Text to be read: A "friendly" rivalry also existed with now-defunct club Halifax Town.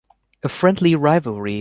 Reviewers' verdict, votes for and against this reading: rejected, 0, 2